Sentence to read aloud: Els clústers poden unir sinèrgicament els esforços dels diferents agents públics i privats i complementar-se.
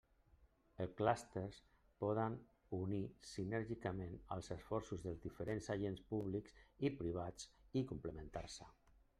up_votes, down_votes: 0, 2